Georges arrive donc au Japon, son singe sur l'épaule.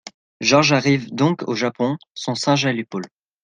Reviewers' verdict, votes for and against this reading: rejected, 1, 2